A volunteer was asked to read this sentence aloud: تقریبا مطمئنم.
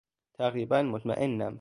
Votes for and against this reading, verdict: 2, 0, accepted